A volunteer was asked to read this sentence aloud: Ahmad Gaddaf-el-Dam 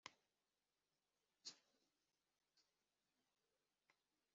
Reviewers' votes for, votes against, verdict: 0, 3, rejected